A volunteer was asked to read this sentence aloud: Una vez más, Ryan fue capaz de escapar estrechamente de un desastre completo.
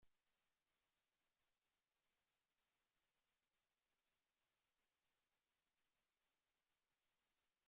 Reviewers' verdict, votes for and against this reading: rejected, 0, 2